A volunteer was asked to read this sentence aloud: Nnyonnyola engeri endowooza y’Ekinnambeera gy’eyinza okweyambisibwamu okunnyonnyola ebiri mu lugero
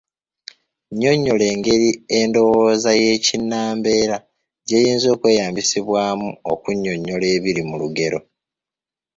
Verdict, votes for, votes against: accepted, 3, 0